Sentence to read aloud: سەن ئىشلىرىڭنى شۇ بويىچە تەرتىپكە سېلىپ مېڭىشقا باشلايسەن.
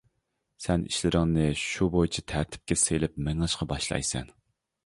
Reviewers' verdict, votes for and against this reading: accepted, 2, 0